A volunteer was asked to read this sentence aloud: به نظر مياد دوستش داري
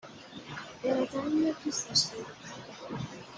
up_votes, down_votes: 2, 0